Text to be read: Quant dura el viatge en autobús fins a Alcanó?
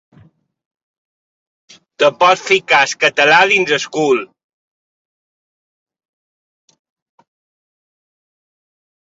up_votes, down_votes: 0, 2